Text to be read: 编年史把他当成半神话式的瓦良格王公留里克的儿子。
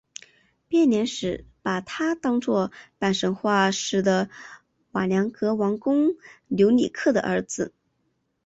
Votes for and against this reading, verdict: 0, 3, rejected